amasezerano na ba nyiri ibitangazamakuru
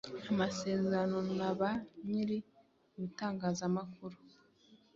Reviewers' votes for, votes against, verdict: 2, 0, accepted